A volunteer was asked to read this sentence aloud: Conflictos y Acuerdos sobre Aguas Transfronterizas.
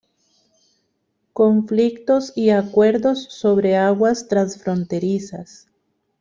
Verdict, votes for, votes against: rejected, 1, 2